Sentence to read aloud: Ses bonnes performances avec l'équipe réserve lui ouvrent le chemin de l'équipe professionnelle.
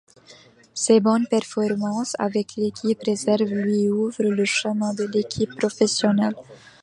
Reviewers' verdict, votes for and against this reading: rejected, 1, 2